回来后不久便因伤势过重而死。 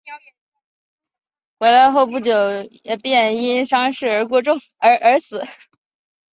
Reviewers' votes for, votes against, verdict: 1, 2, rejected